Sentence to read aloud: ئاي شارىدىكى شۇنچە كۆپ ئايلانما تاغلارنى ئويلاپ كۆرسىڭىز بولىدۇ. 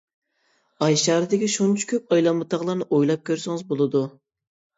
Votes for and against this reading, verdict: 2, 0, accepted